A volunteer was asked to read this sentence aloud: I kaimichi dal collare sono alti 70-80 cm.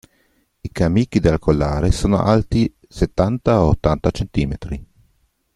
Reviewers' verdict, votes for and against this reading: rejected, 0, 2